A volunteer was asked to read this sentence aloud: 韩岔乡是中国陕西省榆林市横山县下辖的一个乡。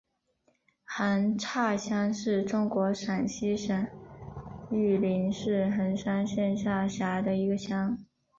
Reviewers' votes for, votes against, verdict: 1, 2, rejected